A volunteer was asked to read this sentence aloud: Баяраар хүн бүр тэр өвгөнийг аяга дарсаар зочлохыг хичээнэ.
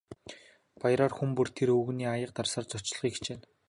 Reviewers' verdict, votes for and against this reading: accepted, 2, 0